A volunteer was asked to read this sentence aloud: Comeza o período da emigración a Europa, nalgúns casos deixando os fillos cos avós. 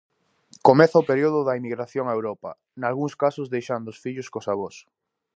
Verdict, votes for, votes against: rejected, 0, 2